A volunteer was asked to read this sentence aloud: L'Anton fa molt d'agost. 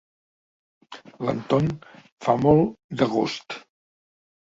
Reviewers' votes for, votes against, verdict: 2, 0, accepted